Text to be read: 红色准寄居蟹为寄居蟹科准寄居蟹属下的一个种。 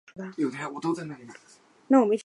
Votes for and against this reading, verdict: 2, 1, accepted